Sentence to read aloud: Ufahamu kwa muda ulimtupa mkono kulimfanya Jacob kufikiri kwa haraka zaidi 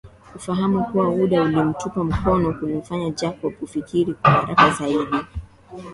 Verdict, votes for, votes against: accepted, 3, 0